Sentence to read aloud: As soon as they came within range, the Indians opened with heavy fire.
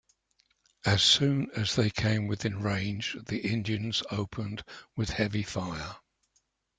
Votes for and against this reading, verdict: 2, 0, accepted